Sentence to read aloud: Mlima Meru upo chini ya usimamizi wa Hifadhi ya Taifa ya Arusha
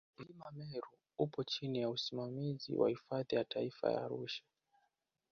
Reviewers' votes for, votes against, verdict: 1, 2, rejected